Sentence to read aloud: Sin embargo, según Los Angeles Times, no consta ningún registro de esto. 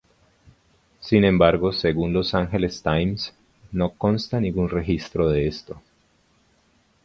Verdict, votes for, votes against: accepted, 2, 0